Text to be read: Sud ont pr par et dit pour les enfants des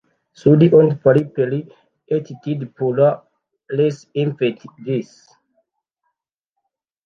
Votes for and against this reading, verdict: 0, 2, rejected